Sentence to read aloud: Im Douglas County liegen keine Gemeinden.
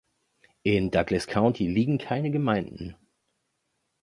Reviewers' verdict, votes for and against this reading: rejected, 0, 2